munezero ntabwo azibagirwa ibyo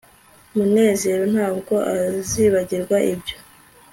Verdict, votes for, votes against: accepted, 2, 0